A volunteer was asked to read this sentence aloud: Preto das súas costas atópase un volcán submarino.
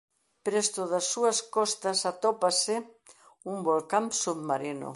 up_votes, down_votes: 0, 2